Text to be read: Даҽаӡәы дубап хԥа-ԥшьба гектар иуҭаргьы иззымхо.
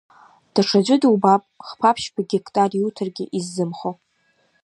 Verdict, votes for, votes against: accepted, 2, 1